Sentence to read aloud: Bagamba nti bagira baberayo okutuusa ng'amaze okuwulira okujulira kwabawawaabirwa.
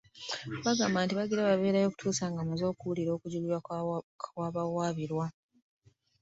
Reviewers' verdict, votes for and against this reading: rejected, 0, 2